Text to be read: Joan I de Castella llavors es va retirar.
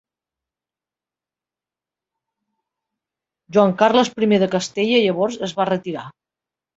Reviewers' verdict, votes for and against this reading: rejected, 0, 2